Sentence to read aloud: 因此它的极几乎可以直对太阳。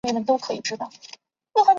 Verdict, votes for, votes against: rejected, 0, 3